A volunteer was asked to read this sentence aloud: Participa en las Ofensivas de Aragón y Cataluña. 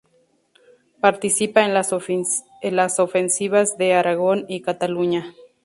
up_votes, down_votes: 0, 2